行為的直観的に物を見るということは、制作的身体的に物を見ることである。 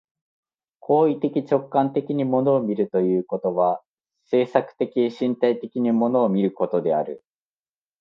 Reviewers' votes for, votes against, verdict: 2, 0, accepted